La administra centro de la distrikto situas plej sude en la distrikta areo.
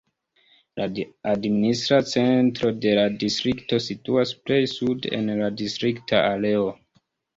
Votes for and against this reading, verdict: 2, 0, accepted